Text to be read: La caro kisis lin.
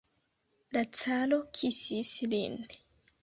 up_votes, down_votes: 1, 2